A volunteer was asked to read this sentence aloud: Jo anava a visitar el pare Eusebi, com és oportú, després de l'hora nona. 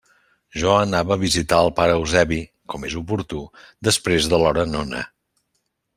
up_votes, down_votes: 2, 0